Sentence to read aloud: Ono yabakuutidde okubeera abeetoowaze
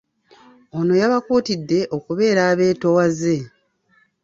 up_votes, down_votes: 2, 0